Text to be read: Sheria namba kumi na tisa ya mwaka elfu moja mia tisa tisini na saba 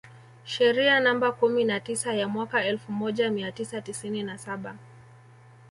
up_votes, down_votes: 2, 0